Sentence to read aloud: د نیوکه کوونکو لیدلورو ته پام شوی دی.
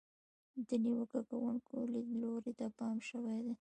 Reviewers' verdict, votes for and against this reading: rejected, 1, 2